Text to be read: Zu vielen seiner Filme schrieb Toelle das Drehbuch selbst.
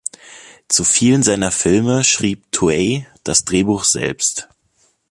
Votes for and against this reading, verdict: 1, 2, rejected